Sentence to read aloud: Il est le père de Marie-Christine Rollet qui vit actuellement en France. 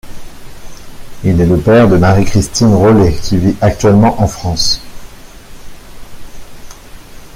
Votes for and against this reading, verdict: 2, 0, accepted